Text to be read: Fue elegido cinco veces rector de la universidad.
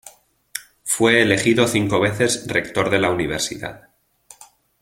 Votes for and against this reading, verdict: 2, 1, accepted